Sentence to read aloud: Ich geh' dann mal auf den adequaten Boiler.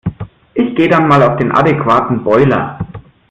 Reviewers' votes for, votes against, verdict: 2, 0, accepted